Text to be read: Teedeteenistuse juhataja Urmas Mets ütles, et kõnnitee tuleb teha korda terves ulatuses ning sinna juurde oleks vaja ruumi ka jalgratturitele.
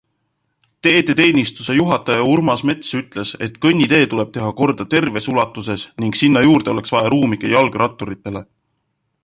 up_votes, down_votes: 2, 0